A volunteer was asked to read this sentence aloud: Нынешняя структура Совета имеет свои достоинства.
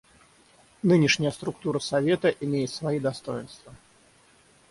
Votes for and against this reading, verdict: 3, 3, rejected